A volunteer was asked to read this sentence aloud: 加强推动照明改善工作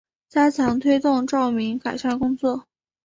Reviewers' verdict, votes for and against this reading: accepted, 3, 0